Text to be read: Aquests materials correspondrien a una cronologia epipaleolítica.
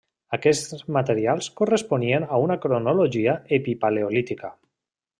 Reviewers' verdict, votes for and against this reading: rejected, 1, 2